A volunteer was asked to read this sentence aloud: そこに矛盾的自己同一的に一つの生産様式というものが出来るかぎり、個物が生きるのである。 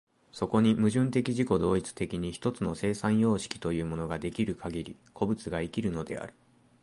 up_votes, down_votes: 2, 0